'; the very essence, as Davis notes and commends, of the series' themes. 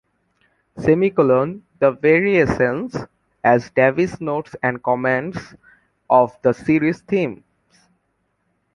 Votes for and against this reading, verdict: 1, 3, rejected